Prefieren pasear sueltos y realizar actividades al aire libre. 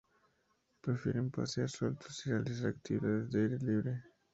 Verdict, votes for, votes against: rejected, 0, 2